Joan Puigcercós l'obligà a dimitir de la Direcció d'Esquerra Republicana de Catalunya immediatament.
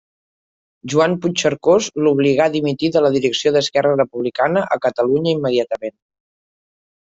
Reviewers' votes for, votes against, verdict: 1, 3, rejected